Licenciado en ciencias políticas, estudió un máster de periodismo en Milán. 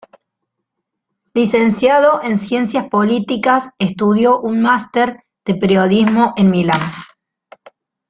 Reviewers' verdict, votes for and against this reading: accepted, 2, 0